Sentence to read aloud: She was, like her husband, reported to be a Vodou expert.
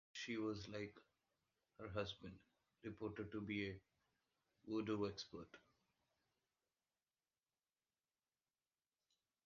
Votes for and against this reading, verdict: 1, 2, rejected